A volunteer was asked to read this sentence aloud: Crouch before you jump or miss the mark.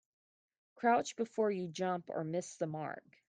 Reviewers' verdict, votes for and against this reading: accepted, 2, 0